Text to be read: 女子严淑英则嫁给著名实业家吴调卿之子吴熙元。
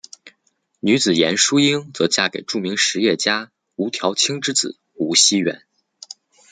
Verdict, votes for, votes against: accepted, 2, 1